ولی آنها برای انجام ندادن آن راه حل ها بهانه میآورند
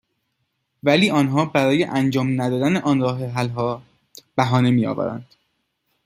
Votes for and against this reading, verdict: 2, 0, accepted